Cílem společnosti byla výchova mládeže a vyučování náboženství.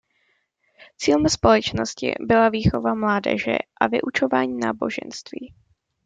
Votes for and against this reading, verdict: 2, 0, accepted